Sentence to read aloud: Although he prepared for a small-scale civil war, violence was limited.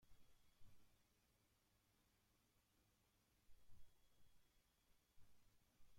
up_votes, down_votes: 0, 2